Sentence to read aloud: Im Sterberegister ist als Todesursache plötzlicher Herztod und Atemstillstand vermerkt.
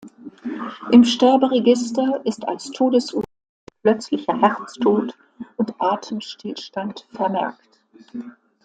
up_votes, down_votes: 0, 2